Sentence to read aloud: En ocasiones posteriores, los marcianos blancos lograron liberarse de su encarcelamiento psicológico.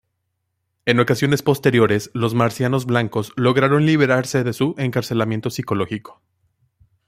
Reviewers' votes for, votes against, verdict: 2, 0, accepted